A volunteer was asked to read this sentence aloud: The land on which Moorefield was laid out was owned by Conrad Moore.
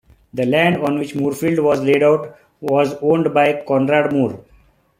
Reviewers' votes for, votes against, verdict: 2, 0, accepted